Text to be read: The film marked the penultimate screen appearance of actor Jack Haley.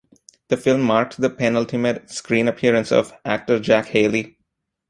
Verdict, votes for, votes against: accepted, 2, 1